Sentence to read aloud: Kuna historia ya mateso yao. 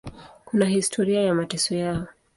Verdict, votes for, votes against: accepted, 2, 0